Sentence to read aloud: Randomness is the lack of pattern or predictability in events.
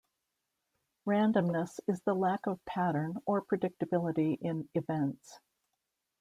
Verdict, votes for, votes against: accepted, 2, 0